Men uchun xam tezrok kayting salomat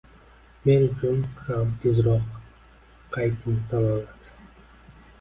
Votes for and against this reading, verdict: 1, 2, rejected